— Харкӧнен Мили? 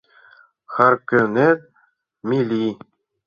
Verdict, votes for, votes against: rejected, 0, 2